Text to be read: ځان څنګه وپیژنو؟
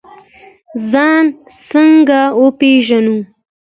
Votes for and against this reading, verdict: 2, 0, accepted